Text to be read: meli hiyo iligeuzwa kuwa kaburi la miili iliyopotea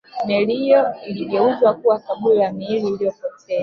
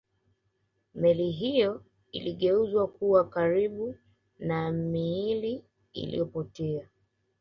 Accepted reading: second